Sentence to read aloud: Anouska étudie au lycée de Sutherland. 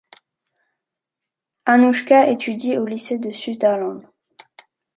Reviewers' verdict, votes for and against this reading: rejected, 0, 2